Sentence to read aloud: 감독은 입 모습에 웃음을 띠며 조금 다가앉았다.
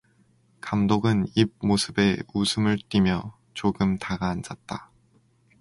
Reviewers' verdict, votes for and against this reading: accepted, 4, 0